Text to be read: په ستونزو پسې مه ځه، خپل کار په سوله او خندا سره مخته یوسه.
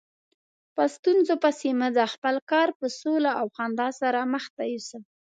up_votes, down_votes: 2, 0